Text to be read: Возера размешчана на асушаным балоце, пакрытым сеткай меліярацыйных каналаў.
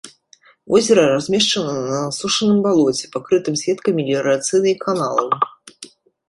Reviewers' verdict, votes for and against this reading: rejected, 0, 2